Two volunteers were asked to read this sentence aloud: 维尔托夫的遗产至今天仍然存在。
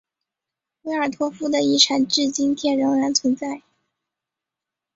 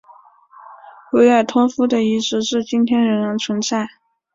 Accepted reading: first